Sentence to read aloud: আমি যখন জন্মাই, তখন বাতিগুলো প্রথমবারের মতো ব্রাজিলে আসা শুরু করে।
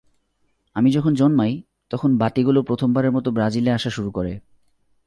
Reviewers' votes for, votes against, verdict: 0, 2, rejected